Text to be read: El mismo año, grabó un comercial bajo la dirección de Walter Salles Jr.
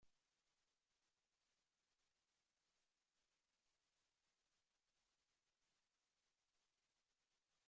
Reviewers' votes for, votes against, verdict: 0, 2, rejected